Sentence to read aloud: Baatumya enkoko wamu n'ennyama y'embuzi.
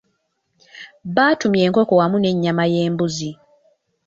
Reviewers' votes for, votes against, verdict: 1, 2, rejected